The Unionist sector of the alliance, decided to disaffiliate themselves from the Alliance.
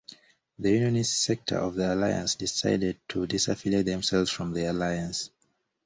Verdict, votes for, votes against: accepted, 2, 0